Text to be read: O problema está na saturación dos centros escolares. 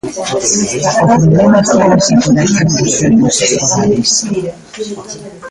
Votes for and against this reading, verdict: 0, 2, rejected